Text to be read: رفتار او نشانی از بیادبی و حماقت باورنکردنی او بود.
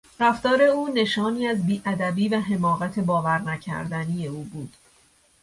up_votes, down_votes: 2, 0